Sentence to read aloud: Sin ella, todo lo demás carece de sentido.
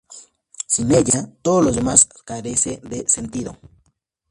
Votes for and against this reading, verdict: 0, 2, rejected